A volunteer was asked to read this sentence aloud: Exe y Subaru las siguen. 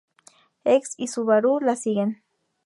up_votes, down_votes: 0, 2